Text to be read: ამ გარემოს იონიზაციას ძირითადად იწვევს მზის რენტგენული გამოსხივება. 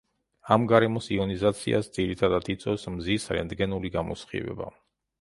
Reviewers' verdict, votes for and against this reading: accepted, 2, 0